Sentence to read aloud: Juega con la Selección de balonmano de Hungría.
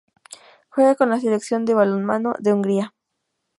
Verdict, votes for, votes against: accepted, 2, 0